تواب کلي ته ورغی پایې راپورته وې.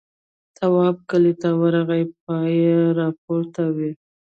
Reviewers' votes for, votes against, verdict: 0, 2, rejected